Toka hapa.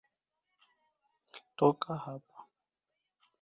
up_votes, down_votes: 0, 2